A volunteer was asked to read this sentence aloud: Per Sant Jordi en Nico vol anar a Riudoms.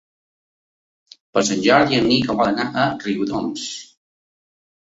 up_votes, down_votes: 2, 1